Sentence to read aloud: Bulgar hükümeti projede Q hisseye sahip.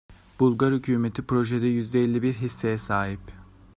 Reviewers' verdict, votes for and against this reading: accepted, 2, 1